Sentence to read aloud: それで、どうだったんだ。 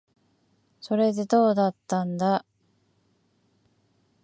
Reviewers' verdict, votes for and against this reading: accepted, 2, 0